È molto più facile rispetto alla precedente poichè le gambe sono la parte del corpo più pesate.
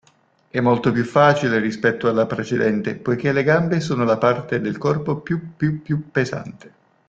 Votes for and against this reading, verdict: 0, 2, rejected